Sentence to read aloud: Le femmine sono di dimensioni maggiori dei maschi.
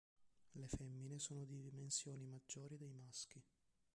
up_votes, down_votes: 0, 2